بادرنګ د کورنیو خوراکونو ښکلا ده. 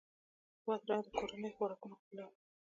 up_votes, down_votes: 0, 2